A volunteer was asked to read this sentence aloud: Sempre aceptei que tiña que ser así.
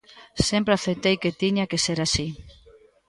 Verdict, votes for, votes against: rejected, 1, 2